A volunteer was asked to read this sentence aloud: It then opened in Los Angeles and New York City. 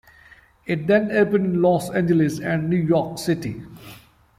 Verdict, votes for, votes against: accepted, 2, 0